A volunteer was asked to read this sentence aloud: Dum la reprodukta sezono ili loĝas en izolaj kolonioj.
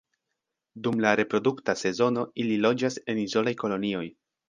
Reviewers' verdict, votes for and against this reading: accepted, 2, 1